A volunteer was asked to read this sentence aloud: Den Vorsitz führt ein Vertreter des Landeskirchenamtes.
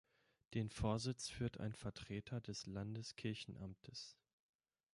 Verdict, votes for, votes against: accepted, 2, 0